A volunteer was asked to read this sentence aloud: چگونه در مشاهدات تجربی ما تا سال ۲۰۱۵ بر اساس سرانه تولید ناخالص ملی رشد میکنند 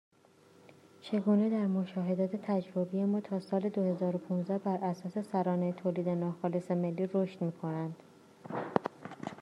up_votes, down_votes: 0, 2